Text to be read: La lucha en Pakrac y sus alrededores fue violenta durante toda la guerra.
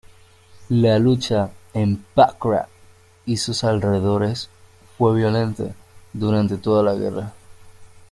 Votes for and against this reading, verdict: 0, 2, rejected